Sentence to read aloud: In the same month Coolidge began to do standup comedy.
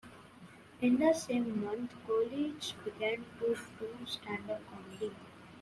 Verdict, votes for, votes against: accepted, 2, 1